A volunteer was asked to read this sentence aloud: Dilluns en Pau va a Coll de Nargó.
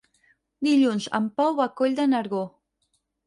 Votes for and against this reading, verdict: 2, 4, rejected